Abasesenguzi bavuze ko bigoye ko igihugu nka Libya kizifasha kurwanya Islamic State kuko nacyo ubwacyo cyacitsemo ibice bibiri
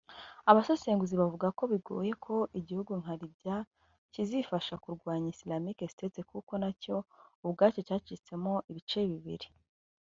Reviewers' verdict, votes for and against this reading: rejected, 1, 2